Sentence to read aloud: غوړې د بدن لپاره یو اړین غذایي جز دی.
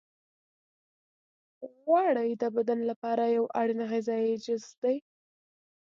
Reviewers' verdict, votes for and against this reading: accepted, 2, 0